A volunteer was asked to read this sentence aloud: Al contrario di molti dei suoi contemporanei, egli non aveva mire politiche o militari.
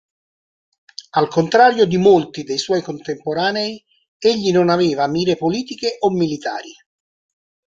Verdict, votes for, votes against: accepted, 2, 1